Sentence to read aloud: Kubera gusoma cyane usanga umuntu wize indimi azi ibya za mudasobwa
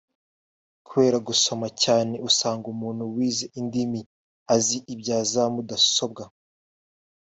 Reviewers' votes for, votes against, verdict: 2, 0, accepted